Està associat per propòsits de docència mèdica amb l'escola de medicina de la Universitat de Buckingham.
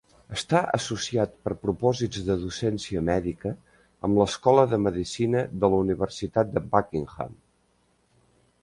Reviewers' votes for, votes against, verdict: 3, 0, accepted